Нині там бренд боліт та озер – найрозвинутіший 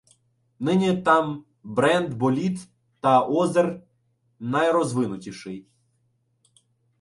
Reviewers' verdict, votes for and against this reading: rejected, 0, 2